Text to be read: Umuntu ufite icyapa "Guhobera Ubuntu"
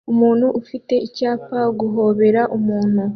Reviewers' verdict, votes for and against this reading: accepted, 2, 0